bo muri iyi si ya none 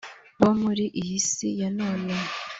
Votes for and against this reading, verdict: 2, 0, accepted